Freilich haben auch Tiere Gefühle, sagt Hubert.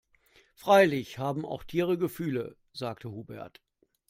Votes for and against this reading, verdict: 1, 2, rejected